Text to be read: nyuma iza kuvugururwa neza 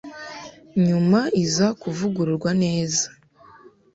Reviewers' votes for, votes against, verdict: 2, 0, accepted